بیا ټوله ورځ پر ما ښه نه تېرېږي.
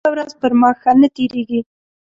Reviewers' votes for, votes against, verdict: 1, 2, rejected